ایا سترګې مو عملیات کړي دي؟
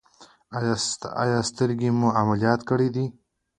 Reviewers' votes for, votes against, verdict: 2, 0, accepted